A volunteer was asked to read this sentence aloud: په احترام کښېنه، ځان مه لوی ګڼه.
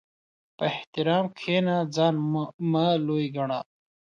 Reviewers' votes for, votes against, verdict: 2, 0, accepted